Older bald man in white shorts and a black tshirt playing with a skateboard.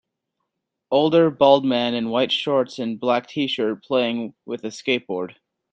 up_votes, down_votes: 0, 2